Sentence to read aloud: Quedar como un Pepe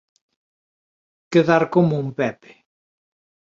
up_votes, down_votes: 2, 0